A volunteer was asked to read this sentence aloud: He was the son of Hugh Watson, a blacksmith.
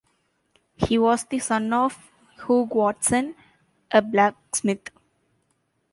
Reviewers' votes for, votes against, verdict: 2, 0, accepted